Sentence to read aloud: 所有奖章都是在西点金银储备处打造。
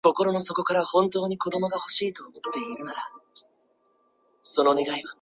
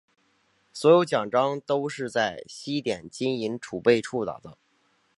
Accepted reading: second